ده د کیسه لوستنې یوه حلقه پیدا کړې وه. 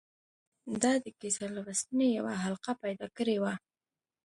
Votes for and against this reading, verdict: 2, 0, accepted